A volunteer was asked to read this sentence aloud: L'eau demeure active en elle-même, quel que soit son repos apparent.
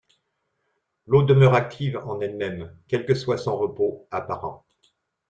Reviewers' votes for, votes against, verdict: 2, 0, accepted